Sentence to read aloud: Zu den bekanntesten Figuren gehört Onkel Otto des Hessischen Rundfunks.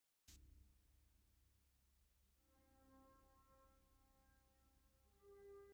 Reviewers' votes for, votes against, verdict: 0, 2, rejected